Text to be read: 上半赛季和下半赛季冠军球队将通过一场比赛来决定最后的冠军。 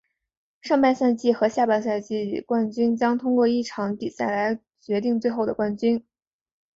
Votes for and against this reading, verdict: 2, 0, accepted